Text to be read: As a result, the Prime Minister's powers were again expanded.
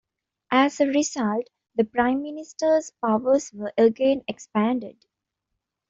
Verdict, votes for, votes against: accepted, 2, 1